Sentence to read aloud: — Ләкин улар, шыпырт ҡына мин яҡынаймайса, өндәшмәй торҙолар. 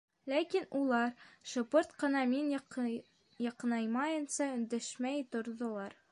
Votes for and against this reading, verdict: 0, 2, rejected